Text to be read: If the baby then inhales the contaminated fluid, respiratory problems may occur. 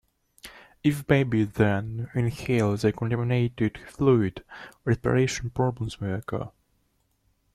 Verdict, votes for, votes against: rejected, 0, 2